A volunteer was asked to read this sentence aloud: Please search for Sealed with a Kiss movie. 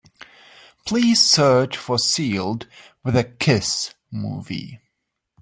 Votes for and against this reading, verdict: 2, 1, accepted